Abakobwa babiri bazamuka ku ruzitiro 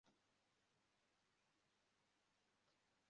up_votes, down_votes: 0, 2